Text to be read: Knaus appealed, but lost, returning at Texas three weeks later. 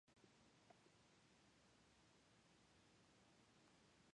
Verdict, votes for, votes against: rejected, 0, 2